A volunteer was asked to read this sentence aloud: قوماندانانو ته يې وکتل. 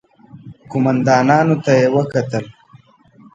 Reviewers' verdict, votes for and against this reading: accepted, 2, 0